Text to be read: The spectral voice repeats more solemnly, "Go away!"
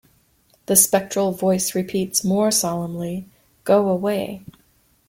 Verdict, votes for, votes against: accepted, 2, 0